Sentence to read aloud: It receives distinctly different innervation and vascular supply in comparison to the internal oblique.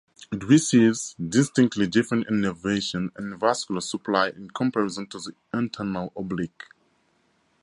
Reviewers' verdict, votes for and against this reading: rejected, 2, 2